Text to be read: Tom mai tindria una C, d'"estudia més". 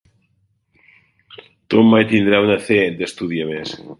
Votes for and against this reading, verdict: 1, 3, rejected